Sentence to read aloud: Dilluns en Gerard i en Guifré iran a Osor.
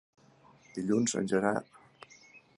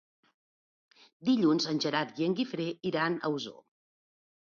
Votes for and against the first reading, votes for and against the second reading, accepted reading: 0, 4, 2, 0, second